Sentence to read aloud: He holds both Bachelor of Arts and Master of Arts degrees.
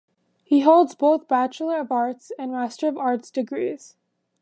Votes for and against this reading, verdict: 2, 0, accepted